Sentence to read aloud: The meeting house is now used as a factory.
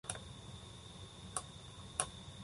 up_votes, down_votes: 0, 2